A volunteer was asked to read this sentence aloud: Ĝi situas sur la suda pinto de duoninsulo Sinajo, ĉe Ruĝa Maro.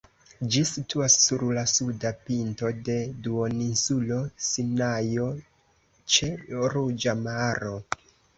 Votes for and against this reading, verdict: 2, 0, accepted